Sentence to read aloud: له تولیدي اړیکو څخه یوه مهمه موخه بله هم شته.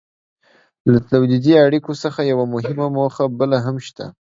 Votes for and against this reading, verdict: 1, 2, rejected